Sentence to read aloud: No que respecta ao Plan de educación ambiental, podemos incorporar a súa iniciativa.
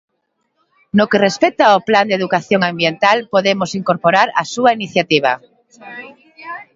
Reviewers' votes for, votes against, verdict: 0, 2, rejected